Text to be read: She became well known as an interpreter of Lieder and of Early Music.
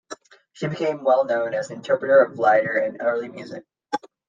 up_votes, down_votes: 0, 2